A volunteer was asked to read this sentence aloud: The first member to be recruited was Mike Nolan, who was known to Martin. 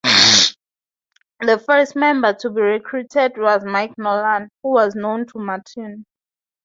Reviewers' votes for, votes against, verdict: 2, 2, rejected